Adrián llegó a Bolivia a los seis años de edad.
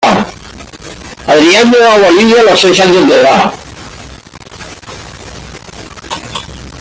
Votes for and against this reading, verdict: 2, 1, accepted